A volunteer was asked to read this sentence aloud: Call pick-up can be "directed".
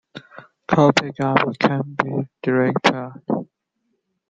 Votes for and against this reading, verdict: 0, 2, rejected